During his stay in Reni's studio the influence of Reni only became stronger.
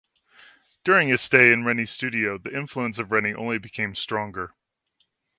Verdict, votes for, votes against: accepted, 2, 1